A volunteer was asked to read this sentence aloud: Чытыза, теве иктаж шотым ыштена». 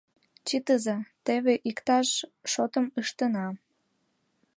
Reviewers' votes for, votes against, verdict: 2, 1, accepted